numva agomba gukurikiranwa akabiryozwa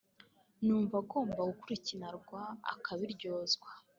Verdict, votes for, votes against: rejected, 1, 2